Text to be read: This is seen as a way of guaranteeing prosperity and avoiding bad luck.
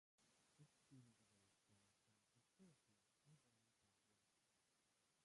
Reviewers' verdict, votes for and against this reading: rejected, 0, 2